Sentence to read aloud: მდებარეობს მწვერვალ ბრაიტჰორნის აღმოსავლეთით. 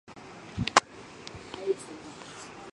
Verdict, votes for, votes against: rejected, 0, 2